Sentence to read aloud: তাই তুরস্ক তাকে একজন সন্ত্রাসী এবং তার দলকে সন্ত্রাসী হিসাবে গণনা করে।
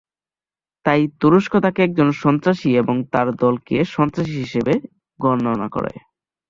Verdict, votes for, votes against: rejected, 3, 8